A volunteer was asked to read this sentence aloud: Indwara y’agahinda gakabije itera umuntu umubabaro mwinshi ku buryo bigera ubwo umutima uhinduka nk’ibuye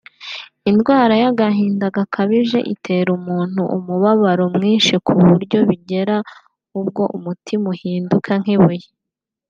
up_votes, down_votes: 2, 0